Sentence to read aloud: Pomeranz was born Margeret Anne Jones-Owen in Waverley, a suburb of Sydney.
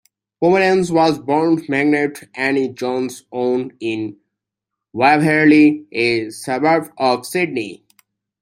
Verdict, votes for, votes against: accepted, 2, 1